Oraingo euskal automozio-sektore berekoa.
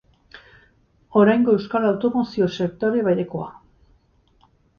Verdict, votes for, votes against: accepted, 2, 0